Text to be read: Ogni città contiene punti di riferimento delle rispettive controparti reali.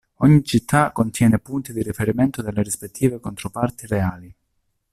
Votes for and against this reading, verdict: 2, 0, accepted